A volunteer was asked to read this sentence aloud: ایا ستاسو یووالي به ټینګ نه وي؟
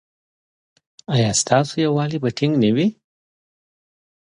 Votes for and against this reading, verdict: 3, 0, accepted